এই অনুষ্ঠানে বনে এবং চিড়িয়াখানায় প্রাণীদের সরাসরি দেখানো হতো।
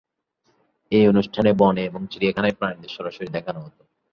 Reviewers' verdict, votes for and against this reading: accepted, 2, 1